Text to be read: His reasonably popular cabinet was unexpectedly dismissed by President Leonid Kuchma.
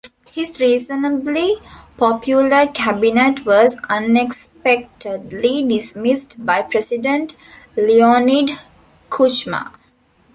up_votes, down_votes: 2, 0